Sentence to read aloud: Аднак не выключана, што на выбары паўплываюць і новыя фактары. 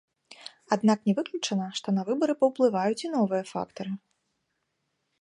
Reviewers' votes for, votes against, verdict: 2, 0, accepted